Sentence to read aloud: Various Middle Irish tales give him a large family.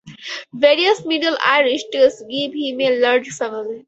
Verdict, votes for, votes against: accepted, 4, 0